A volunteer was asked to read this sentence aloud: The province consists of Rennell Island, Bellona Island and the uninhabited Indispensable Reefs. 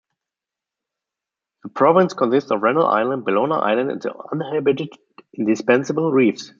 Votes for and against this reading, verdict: 1, 2, rejected